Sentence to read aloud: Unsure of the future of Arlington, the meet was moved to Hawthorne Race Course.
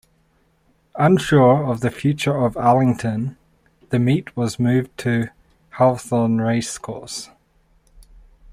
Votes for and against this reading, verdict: 2, 0, accepted